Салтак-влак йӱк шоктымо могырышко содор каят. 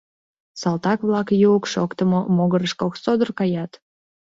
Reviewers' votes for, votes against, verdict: 1, 2, rejected